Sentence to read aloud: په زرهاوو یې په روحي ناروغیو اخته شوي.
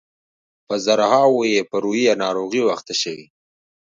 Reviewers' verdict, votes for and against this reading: accepted, 2, 0